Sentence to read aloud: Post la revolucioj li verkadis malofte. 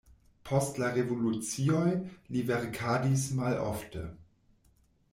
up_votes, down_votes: 2, 1